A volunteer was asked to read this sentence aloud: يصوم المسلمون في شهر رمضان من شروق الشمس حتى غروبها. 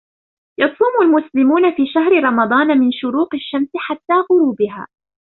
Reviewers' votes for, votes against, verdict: 0, 2, rejected